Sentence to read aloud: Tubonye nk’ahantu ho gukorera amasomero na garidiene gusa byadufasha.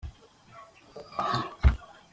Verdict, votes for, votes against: rejected, 0, 2